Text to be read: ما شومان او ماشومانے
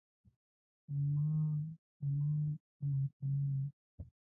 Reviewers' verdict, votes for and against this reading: rejected, 0, 2